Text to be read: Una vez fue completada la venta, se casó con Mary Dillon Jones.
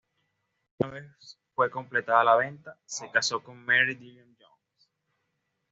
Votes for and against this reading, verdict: 1, 2, rejected